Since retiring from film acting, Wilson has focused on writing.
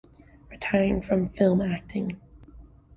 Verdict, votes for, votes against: rejected, 1, 2